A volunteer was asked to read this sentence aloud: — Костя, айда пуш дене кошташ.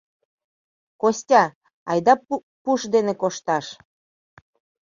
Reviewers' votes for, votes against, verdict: 0, 2, rejected